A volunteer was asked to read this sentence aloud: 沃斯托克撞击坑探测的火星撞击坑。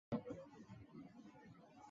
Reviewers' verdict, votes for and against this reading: rejected, 0, 3